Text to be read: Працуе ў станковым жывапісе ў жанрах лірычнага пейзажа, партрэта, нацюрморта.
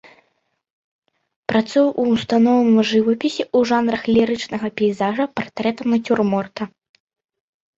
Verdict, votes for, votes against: rejected, 0, 2